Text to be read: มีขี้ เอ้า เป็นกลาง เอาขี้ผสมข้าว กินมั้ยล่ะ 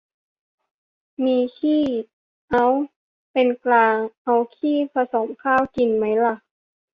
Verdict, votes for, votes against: accepted, 2, 0